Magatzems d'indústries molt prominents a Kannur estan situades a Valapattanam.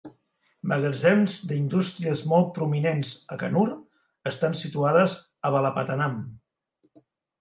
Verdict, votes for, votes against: accepted, 2, 1